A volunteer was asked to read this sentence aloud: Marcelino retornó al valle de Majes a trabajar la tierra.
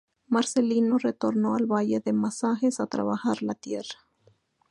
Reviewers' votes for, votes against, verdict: 0, 2, rejected